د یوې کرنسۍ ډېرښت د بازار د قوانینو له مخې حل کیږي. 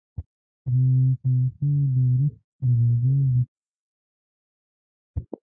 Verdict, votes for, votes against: rejected, 1, 2